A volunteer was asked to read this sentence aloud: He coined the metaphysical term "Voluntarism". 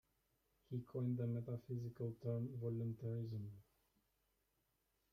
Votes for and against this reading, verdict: 1, 2, rejected